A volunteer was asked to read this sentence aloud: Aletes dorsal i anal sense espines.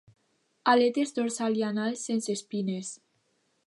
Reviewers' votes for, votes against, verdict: 2, 0, accepted